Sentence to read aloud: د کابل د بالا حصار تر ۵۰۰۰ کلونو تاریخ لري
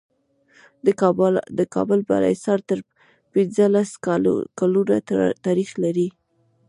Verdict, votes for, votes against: rejected, 0, 2